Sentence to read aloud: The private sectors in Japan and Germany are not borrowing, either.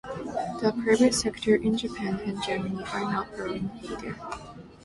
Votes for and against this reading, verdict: 0, 2, rejected